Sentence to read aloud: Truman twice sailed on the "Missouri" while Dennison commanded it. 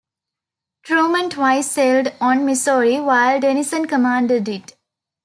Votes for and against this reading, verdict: 0, 2, rejected